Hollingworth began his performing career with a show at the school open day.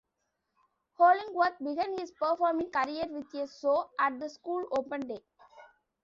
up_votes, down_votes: 0, 2